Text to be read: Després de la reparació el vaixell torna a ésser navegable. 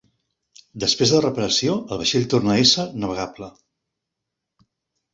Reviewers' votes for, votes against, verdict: 2, 0, accepted